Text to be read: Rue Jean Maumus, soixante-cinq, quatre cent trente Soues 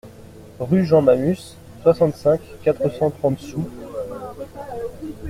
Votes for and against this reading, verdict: 1, 2, rejected